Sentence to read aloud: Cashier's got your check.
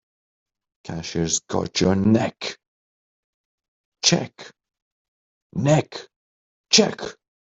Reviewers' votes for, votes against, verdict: 0, 3, rejected